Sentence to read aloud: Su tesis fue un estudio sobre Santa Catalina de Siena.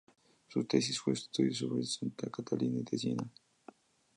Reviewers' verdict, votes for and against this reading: accepted, 2, 0